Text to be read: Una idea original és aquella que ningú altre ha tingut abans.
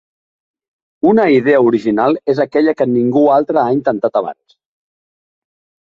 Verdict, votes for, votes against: rejected, 0, 2